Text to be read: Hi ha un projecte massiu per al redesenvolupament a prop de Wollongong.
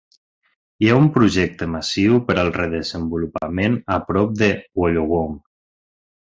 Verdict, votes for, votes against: rejected, 1, 2